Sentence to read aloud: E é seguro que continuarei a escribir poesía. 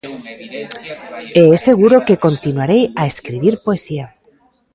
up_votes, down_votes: 0, 2